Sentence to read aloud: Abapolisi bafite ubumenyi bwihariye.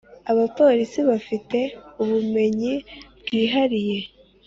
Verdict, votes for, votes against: accepted, 2, 0